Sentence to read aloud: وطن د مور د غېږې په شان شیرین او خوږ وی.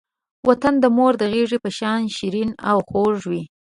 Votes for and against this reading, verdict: 0, 2, rejected